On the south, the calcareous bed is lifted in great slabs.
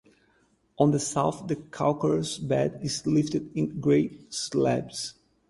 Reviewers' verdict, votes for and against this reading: accepted, 4, 0